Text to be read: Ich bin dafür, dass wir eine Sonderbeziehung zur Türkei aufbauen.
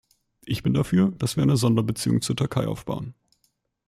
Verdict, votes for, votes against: accepted, 2, 0